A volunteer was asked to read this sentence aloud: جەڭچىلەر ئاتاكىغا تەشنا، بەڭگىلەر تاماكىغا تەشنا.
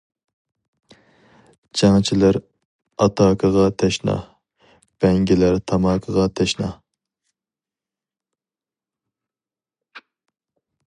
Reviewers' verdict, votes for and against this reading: accepted, 4, 0